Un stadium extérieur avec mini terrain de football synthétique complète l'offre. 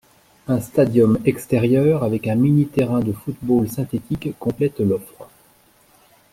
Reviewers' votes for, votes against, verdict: 0, 2, rejected